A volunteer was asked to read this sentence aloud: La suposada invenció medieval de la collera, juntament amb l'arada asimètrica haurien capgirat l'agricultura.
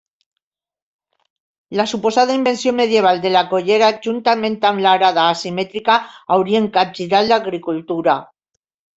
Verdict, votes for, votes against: accepted, 2, 0